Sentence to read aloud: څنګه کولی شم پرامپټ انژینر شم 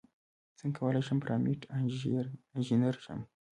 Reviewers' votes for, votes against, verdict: 1, 2, rejected